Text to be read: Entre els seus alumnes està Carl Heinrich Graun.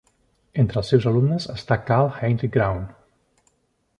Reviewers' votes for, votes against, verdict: 2, 0, accepted